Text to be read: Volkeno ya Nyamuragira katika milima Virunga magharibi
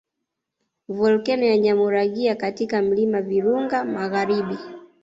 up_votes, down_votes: 2, 0